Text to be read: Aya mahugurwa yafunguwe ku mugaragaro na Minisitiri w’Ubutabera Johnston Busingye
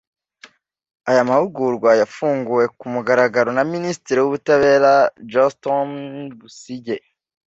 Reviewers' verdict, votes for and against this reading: accepted, 2, 0